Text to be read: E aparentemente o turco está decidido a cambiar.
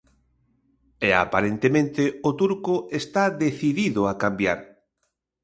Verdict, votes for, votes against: accepted, 2, 0